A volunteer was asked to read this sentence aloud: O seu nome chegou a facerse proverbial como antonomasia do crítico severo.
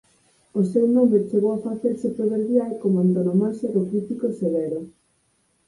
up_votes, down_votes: 4, 0